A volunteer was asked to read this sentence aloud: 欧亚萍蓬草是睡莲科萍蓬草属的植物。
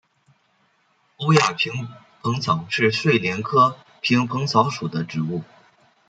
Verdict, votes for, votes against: accepted, 2, 0